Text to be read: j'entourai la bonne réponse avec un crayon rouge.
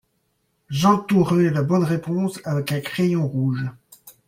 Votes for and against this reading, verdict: 2, 0, accepted